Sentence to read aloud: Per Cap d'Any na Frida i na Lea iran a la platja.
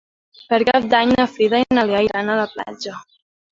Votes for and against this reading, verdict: 0, 2, rejected